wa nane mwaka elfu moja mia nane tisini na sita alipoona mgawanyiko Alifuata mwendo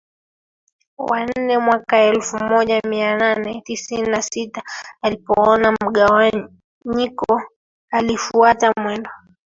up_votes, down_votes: 0, 2